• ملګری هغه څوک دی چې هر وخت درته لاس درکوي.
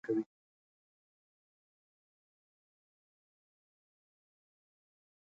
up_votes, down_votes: 0, 2